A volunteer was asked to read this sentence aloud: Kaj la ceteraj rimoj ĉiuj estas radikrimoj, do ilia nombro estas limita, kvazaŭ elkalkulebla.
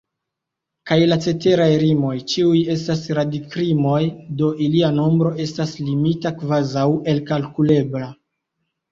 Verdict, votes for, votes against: accepted, 2, 1